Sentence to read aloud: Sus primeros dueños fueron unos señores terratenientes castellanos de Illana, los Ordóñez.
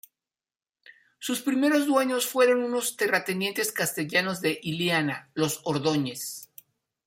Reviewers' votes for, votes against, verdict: 0, 2, rejected